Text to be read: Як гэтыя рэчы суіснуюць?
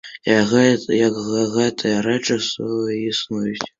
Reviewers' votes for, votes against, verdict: 0, 2, rejected